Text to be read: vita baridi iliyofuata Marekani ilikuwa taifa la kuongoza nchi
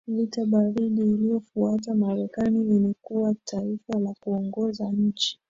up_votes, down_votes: 2, 1